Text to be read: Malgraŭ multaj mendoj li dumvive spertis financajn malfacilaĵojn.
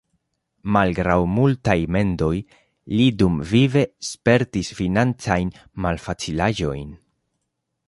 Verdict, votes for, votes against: accepted, 2, 0